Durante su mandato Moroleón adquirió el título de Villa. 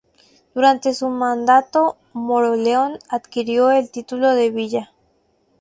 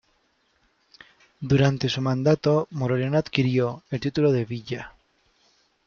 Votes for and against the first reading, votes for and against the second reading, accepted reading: 6, 0, 1, 2, first